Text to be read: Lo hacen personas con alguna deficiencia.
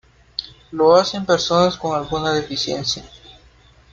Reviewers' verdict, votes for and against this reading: accepted, 2, 0